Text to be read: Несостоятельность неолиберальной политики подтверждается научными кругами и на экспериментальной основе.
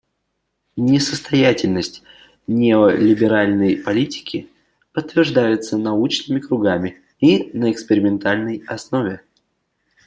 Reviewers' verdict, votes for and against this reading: accepted, 2, 0